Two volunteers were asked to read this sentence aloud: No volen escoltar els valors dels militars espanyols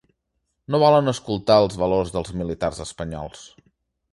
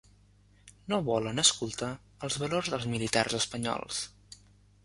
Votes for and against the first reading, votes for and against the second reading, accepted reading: 2, 0, 1, 2, first